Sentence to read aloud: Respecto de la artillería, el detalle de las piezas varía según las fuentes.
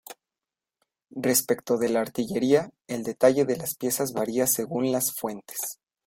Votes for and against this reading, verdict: 2, 0, accepted